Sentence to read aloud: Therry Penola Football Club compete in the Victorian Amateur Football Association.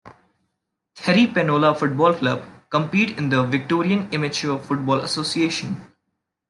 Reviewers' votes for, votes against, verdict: 2, 0, accepted